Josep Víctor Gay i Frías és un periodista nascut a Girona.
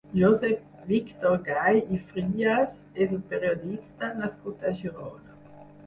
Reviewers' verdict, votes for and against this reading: accepted, 6, 0